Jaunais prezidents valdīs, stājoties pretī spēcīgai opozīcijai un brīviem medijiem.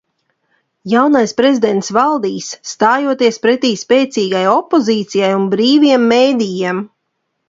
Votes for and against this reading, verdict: 2, 0, accepted